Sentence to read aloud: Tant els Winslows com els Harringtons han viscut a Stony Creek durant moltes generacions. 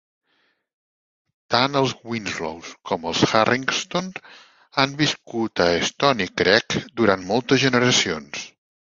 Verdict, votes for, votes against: rejected, 2, 3